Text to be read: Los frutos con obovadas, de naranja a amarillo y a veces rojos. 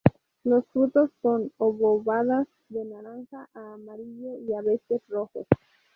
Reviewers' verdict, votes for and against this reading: rejected, 0, 2